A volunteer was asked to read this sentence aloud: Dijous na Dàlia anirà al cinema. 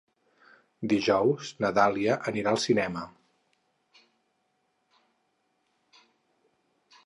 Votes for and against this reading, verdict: 6, 0, accepted